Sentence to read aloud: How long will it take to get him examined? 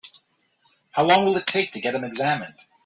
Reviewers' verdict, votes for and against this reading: accepted, 2, 1